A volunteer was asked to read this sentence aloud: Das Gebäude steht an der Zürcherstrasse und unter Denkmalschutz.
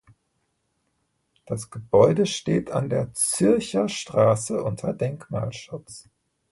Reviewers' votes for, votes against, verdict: 0, 2, rejected